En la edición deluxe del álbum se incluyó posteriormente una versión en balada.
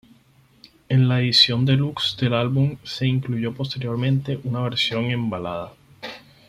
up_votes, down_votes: 4, 0